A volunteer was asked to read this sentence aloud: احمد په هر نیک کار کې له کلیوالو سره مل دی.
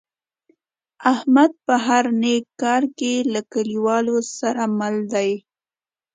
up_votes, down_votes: 2, 0